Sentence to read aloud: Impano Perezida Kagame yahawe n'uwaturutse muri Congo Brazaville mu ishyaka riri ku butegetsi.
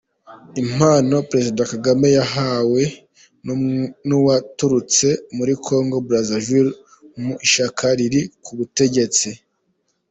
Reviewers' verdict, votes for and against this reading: rejected, 2, 3